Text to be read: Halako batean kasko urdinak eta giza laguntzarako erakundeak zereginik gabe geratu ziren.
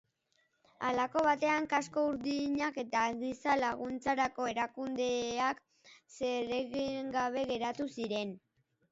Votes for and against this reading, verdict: 1, 2, rejected